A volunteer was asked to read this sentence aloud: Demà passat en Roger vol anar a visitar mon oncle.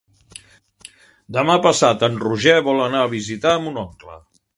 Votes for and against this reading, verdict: 3, 0, accepted